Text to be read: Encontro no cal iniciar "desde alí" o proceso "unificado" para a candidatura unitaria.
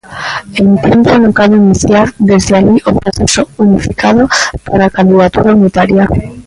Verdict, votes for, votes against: rejected, 0, 2